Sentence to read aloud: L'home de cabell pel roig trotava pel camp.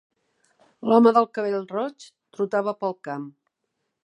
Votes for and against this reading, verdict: 1, 2, rejected